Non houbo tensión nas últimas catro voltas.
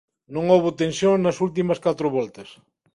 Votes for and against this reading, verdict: 5, 0, accepted